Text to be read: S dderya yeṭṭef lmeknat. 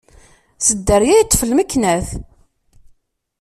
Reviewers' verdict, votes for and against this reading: accepted, 2, 0